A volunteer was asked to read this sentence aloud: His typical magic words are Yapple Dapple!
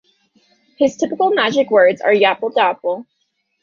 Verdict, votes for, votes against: rejected, 0, 2